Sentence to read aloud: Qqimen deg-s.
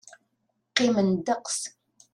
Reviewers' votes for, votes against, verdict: 0, 2, rejected